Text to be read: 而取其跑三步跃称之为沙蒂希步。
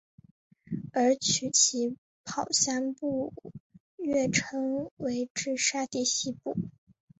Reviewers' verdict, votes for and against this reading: accepted, 3, 1